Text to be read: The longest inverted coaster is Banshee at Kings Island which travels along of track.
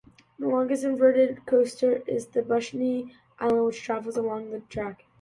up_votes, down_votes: 1, 2